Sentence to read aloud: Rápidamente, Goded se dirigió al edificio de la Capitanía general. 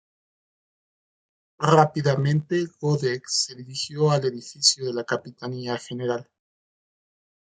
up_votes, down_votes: 2, 1